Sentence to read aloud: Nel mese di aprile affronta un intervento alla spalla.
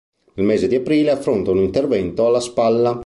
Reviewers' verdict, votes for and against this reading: accepted, 2, 0